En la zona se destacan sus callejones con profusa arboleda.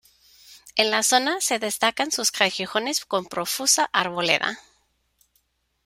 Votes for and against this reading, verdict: 0, 2, rejected